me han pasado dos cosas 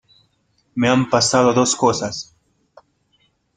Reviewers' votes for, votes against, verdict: 2, 0, accepted